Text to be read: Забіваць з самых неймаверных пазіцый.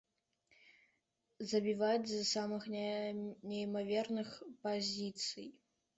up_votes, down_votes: 2, 1